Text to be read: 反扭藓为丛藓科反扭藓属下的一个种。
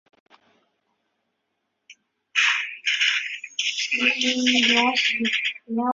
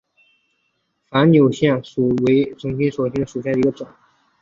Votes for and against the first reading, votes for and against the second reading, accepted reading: 0, 2, 3, 0, second